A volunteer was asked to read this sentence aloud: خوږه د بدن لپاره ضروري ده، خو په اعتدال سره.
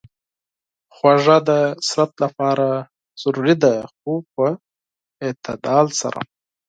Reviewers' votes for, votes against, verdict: 4, 2, accepted